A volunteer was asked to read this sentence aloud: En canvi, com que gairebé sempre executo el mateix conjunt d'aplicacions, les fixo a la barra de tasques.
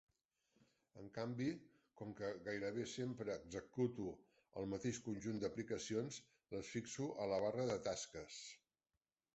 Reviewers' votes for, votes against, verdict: 1, 2, rejected